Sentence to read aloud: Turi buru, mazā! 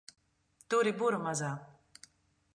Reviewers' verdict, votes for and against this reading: accepted, 2, 0